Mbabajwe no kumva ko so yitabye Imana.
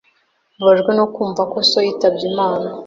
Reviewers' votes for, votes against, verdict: 2, 0, accepted